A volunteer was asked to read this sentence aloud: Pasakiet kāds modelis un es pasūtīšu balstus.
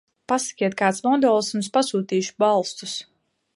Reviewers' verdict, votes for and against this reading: rejected, 1, 2